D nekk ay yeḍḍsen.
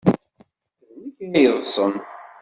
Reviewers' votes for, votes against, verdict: 0, 2, rejected